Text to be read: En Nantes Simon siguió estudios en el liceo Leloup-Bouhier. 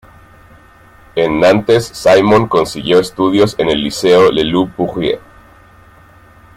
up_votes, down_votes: 0, 2